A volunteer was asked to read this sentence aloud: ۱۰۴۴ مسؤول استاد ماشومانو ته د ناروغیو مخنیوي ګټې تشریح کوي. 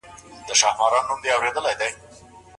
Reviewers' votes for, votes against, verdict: 0, 2, rejected